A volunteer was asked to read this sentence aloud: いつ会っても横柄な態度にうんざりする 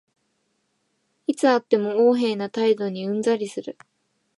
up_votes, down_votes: 2, 0